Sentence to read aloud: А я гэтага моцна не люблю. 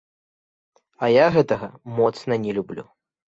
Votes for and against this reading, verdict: 2, 0, accepted